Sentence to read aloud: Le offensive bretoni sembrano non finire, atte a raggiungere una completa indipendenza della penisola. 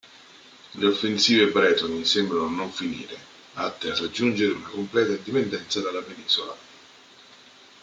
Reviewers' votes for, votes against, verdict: 1, 2, rejected